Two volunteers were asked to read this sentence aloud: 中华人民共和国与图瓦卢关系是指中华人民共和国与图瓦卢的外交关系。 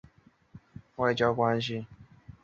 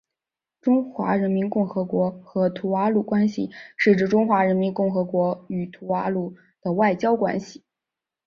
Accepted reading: second